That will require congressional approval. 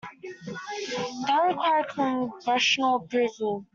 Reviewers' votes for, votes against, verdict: 0, 2, rejected